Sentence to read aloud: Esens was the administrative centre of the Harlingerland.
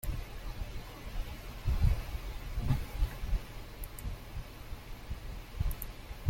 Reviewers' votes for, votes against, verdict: 0, 2, rejected